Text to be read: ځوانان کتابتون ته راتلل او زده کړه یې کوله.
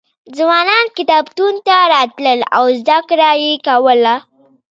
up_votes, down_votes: 2, 0